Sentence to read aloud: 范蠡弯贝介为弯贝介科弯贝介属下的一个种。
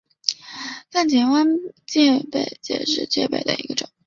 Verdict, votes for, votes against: rejected, 0, 3